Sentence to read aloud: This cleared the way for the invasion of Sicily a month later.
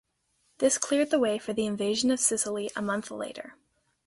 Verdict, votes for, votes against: accepted, 3, 0